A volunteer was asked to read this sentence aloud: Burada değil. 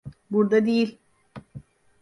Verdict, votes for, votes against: accepted, 2, 0